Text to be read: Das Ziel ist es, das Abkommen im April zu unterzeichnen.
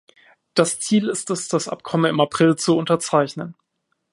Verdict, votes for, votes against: accepted, 2, 0